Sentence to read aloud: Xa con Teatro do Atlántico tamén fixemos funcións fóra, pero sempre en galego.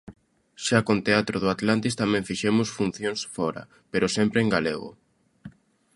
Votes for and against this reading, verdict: 0, 2, rejected